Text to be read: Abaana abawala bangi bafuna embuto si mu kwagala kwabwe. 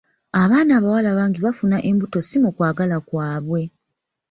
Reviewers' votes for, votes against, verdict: 1, 2, rejected